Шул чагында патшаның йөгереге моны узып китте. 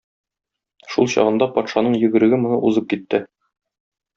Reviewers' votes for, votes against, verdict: 2, 0, accepted